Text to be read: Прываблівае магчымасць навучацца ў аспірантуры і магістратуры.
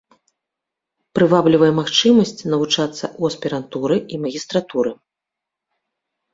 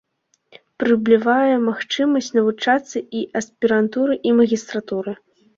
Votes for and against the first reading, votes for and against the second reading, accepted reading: 3, 0, 0, 2, first